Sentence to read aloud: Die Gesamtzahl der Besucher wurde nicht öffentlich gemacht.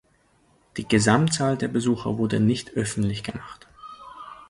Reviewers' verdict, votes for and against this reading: accepted, 2, 0